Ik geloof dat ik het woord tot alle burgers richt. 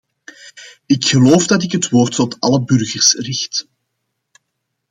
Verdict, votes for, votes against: accepted, 2, 0